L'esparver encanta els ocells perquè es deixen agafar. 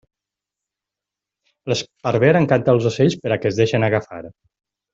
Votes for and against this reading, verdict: 1, 2, rejected